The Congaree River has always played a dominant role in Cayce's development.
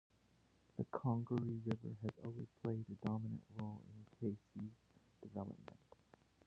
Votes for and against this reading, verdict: 1, 2, rejected